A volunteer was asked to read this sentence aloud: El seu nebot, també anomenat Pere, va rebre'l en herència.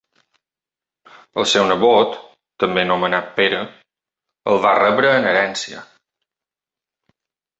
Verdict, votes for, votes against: rejected, 0, 3